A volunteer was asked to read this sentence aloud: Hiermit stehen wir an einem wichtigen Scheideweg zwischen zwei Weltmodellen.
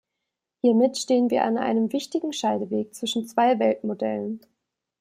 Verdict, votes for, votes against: accepted, 2, 0